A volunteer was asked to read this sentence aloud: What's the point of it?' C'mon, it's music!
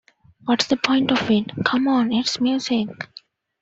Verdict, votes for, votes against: accepted, 2, 0